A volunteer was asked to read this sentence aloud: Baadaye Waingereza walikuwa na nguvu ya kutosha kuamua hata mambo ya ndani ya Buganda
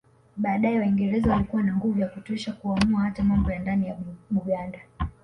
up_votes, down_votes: 4, 0